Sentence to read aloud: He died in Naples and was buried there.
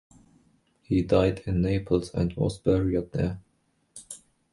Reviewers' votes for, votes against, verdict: 0, 2, rejected